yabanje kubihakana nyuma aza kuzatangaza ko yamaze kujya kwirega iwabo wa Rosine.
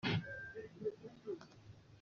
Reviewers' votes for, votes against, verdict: 0, 2, rejected